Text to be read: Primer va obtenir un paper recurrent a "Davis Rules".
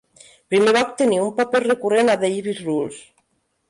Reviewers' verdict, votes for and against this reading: rejected, 0, 2